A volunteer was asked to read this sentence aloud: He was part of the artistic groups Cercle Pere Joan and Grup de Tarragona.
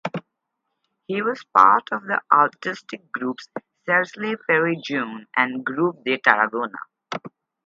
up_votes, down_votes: 2, 2